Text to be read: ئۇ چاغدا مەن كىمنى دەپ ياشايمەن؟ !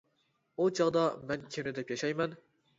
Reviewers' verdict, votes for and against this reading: rejected, 0, 2